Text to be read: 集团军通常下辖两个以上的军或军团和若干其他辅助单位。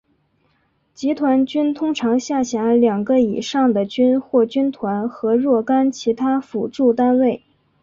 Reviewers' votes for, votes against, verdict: 2, 0, accepted